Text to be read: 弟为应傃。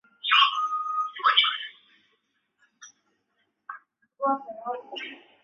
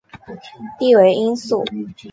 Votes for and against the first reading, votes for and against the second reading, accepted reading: 0, 2, 3, 0, second